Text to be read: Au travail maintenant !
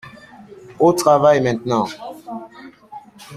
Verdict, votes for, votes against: accepted, 2, 0